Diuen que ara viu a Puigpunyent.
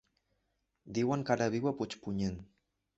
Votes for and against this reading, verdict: 2, 0, accepted